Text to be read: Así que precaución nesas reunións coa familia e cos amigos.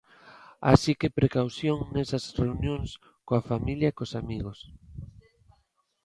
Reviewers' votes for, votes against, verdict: 2, 0, accepted